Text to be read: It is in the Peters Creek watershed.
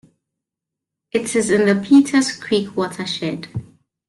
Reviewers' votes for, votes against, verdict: 0, 2, rejected